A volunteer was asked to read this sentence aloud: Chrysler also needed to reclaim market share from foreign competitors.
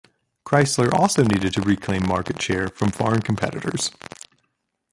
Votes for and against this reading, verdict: 1, 2, rejected